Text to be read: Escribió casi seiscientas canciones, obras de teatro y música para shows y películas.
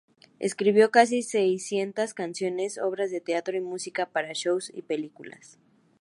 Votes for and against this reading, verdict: 2, 0, accepted